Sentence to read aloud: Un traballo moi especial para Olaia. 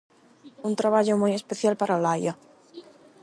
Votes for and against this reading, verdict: 4, 4, rejected